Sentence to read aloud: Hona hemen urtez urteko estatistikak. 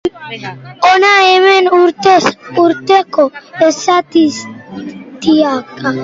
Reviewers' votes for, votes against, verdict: 1, 2, rejected